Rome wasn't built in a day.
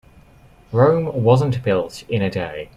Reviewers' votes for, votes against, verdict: 2, 0, accepted